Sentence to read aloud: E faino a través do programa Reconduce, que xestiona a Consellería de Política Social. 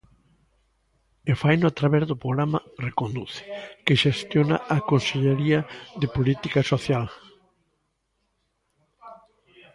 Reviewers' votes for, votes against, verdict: 1, 2, rejected